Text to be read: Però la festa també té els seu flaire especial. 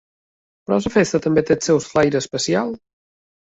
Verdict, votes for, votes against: rejected, 1, 2